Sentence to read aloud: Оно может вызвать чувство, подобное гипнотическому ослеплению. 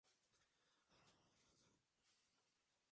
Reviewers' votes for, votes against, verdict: 0, 2, rejected